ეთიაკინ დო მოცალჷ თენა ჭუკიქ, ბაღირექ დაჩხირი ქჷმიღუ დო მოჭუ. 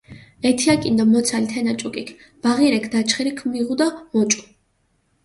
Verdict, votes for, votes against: accepted, 2, 0